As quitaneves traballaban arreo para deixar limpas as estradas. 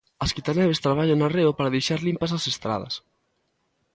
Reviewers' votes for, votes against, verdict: 2, 0, accepted